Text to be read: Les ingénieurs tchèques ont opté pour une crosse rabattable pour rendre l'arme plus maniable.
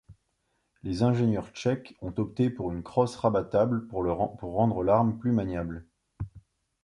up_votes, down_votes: 1, 2